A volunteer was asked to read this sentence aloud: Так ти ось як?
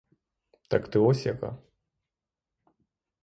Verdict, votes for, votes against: rejected, 3, 3